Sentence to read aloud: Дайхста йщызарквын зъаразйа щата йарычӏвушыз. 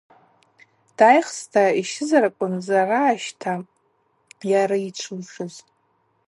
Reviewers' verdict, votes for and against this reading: rejected, 0, 2